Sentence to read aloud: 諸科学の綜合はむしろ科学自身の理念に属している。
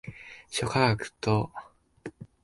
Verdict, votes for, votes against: rejected, 0, 2